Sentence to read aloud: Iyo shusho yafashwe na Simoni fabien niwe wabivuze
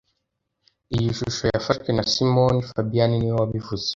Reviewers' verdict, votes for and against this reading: rejected, 1, 2